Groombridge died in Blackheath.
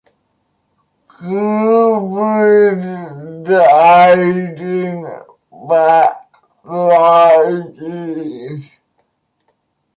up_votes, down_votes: 0, 2